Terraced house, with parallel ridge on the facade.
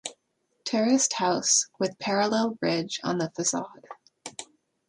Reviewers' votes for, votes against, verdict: 2, 0, accepted